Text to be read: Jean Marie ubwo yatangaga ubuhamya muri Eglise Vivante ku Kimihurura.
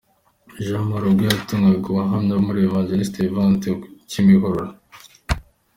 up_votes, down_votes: 2, 1